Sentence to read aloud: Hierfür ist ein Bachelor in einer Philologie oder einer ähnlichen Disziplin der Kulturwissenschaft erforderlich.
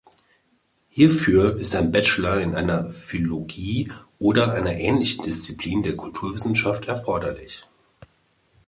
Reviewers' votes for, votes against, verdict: 1, 2, rejected